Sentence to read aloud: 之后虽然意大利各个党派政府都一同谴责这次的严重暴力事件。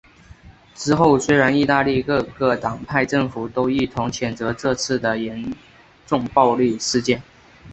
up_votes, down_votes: 2, 0